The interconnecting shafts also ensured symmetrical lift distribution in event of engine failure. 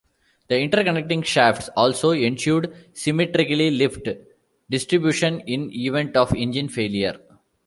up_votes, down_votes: 0, 2